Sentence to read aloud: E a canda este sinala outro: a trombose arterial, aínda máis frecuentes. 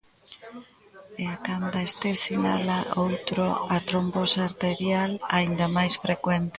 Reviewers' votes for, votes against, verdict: 0, 2, rejected